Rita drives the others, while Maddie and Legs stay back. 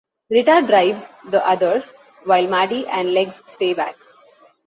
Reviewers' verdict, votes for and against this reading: accepted, 2, 0